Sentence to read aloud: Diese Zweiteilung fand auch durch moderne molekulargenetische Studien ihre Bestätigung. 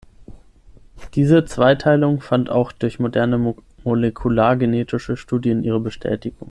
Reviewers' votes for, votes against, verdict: 0, 6, rejected